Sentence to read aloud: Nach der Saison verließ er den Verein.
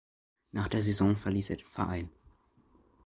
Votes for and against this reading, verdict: 0, 2, rejected